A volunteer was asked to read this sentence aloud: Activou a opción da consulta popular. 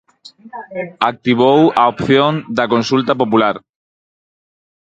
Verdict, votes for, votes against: rejected, 2, 4